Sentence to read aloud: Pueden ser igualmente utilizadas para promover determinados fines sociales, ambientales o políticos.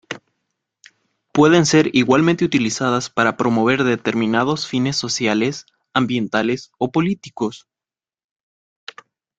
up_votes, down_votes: 2, 0